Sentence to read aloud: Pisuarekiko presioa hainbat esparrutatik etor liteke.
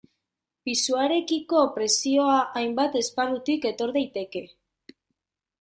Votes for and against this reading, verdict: 1, 2, rejected